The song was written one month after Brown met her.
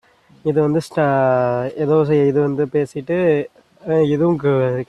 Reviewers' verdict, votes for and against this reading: rejected, 0, 2